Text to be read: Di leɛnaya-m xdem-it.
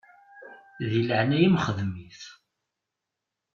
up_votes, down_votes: 2, 1